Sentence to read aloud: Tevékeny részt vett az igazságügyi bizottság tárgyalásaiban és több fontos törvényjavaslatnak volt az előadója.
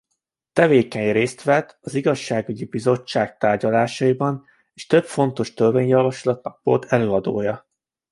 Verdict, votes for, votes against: rejected, 0, 2